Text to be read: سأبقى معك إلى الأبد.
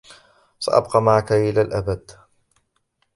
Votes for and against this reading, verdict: 0, 2, rejected